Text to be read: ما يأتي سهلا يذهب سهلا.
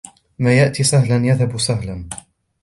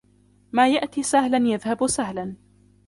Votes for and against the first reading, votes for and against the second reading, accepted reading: 2, 0, 0, 2, first